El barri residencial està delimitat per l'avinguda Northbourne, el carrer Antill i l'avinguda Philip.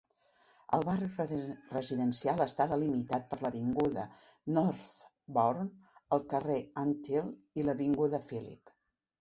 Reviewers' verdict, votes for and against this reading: rejected, 0, 2